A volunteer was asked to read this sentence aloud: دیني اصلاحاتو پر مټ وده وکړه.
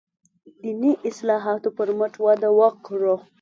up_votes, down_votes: 2, 0